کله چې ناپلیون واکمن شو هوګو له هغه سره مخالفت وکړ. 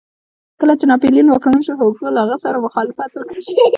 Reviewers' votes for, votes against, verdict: 2, 0, accepted